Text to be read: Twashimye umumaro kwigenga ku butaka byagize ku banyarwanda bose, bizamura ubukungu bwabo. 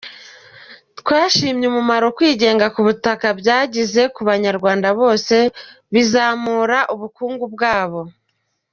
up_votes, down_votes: 2, 0